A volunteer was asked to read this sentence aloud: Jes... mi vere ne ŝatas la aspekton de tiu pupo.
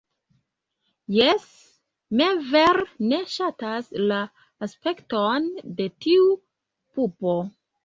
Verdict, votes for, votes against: rejected, 0, 2